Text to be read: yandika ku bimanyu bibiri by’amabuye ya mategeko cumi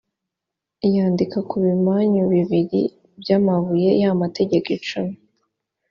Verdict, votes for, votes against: accepted, 2, 0